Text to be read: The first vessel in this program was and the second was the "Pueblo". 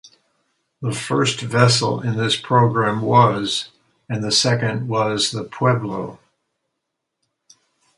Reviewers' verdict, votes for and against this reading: rejected, 0, 2